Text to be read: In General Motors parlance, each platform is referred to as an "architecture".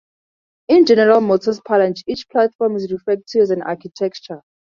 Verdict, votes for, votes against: accepted, 4, 0